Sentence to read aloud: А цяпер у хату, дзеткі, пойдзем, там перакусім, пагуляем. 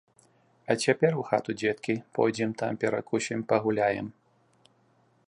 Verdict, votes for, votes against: accepted, 2, 0